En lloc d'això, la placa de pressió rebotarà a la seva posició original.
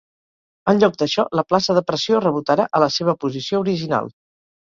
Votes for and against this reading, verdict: 0, 2, rejected